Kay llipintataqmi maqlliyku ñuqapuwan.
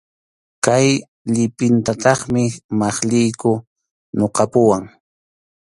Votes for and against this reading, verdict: 2, 0, accepted